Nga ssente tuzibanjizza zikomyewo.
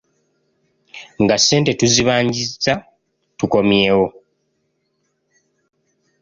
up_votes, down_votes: 0, 2